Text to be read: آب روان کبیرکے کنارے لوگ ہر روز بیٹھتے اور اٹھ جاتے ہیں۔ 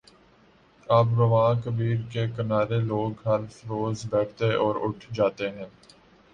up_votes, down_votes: 3, 0